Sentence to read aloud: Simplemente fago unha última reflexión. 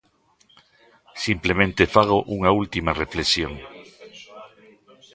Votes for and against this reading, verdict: 1, 2, rejected